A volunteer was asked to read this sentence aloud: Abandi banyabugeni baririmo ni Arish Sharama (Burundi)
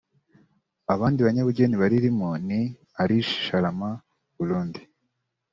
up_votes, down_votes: 2, 0